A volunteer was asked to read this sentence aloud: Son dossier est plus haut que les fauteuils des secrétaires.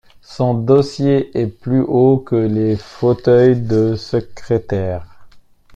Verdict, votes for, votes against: rejected, 0, 2